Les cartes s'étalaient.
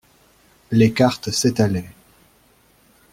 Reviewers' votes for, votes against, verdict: 2, 0, accepted